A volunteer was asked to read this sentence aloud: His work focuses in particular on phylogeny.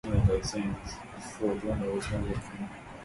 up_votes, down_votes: 0, 2